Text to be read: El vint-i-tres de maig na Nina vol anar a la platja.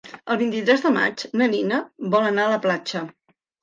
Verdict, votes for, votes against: accepted, 3, 0